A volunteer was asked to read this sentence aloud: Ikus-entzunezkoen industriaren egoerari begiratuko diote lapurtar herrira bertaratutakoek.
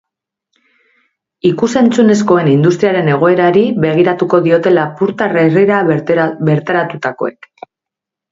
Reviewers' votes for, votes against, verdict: 2, 1, accepted